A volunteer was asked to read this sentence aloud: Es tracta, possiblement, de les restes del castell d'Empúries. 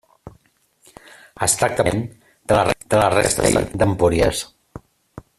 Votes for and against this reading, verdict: 0, 2, rejected